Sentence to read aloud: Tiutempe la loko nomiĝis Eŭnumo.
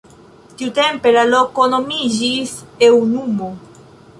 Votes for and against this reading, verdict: 2, 0, accepted